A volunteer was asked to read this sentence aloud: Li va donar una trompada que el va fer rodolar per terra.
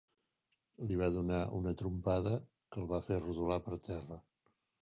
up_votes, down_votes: 2, 1